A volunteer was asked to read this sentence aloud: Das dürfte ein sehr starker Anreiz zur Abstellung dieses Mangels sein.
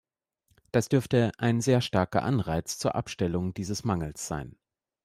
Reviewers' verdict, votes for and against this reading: accepted, 2, 0